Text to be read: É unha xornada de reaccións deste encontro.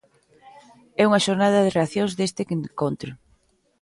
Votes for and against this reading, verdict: 1, 2, rejected